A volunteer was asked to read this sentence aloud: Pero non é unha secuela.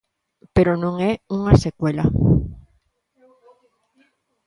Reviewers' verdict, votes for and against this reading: rejected, 0, 2